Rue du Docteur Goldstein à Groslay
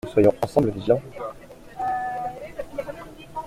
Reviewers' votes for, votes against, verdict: 0, 2, rejected